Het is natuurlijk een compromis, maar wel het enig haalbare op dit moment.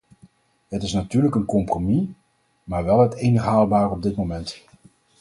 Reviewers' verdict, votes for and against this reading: accepted, 4, 2